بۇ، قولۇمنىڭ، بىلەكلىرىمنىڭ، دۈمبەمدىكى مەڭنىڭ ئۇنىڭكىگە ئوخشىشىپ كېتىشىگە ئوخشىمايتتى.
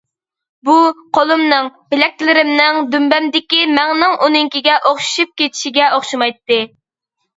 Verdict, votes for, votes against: accepted, 2, 0